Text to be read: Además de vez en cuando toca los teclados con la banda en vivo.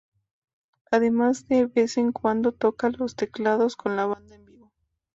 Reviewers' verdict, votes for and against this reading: rejected, 0, 2